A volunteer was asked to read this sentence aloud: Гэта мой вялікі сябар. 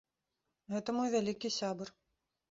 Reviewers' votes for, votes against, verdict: 2, 0, accepted